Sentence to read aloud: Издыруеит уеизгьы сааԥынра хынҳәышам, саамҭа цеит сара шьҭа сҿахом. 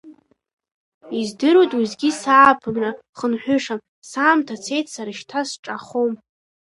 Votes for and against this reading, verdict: 2, 1, accepted